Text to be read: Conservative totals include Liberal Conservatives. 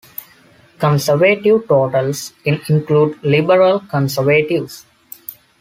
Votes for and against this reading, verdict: 0, 2, rejected